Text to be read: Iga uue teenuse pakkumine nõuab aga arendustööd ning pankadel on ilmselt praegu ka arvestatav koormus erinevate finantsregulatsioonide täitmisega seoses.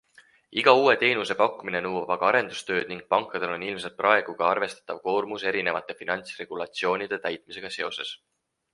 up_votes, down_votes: 4, 0